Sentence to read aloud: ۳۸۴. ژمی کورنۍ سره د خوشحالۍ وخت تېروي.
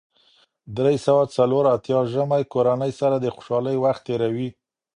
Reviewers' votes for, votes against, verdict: 0, 2, rejected